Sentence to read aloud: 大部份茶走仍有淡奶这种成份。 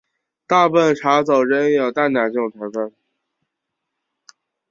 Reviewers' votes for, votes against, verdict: 4, 0, accepted